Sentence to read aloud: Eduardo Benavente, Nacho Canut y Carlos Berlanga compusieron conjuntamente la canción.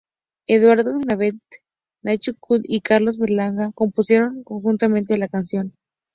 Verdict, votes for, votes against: rejected, 0, 2